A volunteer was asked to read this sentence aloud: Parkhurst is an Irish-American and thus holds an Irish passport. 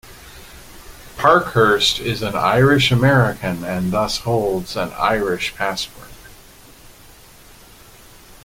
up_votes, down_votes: 2, 0